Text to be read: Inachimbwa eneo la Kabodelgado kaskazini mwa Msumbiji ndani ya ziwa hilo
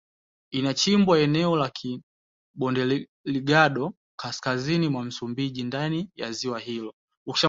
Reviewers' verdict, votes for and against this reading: rejected, 1, 2